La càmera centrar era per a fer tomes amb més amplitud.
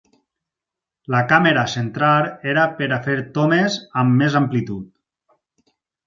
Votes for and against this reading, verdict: 4, 0, accepted